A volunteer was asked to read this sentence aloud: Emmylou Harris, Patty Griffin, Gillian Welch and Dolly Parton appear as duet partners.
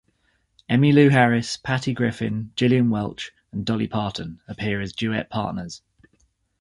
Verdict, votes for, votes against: accepted, 2, 1